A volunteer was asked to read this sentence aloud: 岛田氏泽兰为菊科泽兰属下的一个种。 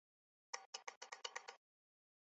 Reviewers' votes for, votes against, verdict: 4, 4, rejected